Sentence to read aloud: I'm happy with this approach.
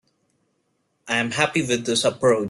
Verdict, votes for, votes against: rejected, 0, 2